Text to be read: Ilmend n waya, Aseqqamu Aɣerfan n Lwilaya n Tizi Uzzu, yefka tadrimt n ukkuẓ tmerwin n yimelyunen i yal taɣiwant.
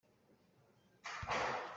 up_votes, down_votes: 0, 2